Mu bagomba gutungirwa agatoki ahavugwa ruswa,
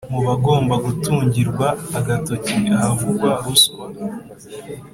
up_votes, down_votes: 3, 0